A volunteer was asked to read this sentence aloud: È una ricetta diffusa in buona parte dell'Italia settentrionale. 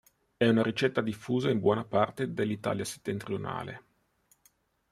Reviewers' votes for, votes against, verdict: 1, 2, rejected